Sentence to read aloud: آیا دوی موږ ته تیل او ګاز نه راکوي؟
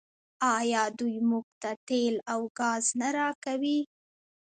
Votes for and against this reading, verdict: 2, 1, accepted